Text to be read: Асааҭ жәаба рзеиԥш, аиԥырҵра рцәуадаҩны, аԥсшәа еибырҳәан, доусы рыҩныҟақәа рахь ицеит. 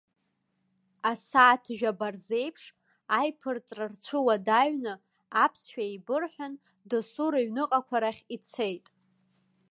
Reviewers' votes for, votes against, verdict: 1, 2, rejected